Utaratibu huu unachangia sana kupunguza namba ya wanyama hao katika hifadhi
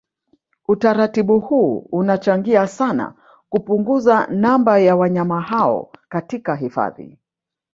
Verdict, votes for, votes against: rejected, 1, 2